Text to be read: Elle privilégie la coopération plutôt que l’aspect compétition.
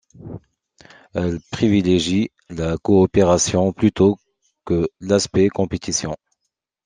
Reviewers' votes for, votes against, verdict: 2, 0, accepted